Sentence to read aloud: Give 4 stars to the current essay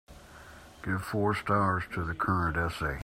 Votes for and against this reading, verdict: 0, 2, rejected